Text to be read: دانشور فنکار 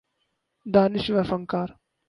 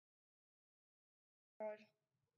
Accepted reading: first